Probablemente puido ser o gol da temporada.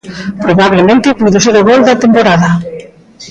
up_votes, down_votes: 2, 0